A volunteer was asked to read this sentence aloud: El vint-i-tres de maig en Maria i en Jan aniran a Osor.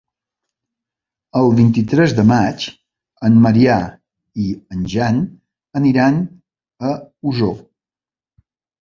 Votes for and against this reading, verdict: 1, 2, rejected